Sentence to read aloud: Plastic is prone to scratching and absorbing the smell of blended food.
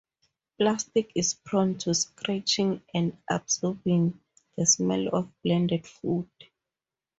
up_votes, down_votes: 2, 0